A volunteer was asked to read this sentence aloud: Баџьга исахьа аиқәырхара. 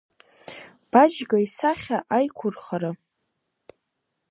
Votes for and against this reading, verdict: 2, 0, accepted